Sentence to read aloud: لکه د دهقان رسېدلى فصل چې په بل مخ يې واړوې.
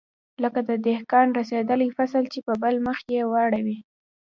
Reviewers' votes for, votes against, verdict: 3, 0, accepted